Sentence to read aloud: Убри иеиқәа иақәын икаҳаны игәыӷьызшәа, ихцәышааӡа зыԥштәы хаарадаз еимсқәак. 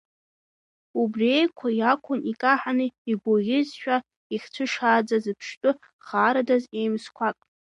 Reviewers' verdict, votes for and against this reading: rejected, 1, 2